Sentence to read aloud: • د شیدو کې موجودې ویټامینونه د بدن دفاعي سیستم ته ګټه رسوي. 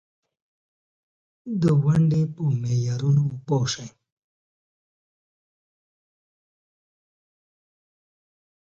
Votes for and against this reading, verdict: 1, 2, rejected